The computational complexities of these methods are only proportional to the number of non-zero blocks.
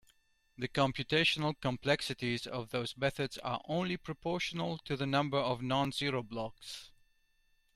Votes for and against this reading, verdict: 1, 2, rejected